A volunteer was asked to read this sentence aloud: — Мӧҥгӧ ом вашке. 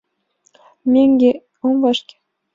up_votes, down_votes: 2, 0